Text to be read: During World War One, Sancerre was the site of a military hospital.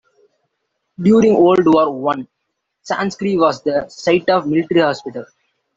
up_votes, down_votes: 0, 2